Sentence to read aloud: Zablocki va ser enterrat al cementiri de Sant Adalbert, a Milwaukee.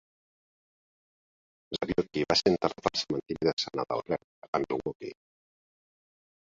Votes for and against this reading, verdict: 0, 2, rejected